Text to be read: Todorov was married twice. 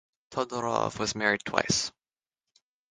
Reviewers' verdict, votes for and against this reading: accepted, 6, 0